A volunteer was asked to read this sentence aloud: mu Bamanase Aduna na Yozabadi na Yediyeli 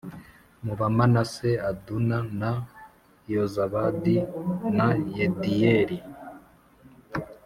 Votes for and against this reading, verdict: 4, 0, accepted